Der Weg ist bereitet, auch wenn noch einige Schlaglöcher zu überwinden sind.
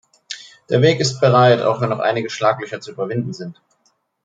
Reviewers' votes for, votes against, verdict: 0, 2, rejected